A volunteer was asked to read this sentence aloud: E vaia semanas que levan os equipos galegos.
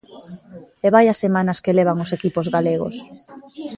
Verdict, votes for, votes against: rejected, 1, 2